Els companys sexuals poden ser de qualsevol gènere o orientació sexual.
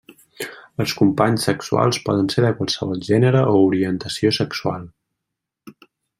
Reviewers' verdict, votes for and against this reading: accepted, 3, 0